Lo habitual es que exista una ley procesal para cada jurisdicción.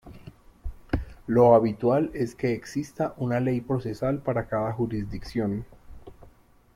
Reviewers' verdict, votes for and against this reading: accepted, 3, 0